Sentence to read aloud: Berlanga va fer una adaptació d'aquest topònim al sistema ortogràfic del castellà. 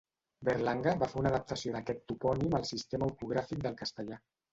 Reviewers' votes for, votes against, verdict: 2, 0, accepted